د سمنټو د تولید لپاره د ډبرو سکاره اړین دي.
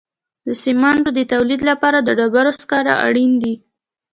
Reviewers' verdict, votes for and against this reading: accepted, 2, 0